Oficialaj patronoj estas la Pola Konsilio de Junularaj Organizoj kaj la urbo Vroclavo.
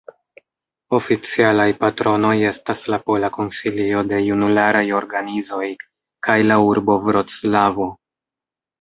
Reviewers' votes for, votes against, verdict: 1, 2, rejected